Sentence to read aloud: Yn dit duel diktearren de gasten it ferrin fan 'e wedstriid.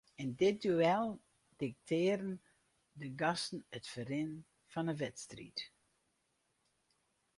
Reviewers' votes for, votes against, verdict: 2, 4, rejected